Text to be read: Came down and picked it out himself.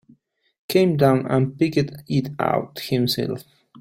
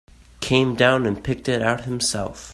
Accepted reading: second